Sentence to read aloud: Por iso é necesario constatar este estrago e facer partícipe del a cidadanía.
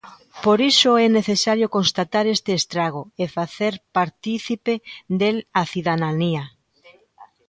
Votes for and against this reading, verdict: 2, 1, accepted